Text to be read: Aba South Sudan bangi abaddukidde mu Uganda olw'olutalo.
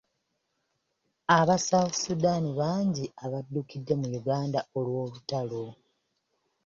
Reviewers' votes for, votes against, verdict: 2, 0, accepted